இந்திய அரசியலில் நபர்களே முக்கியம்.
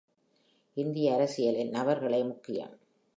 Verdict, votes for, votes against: accepted, 2, 1